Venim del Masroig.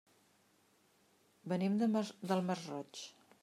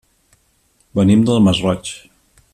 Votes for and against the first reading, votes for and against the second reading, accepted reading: 0, 2, 2, 0, second